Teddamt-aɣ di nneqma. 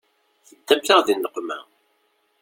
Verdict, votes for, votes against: rejected, 1, 2